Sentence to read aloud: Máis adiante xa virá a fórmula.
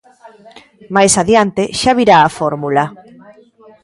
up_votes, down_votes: 0, 2